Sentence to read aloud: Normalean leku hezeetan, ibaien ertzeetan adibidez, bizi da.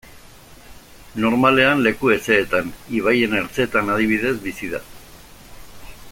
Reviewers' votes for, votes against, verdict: 2, 0, accepted